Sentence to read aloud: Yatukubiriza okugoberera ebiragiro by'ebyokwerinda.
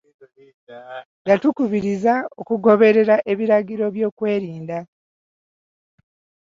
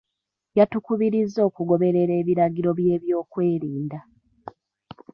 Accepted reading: second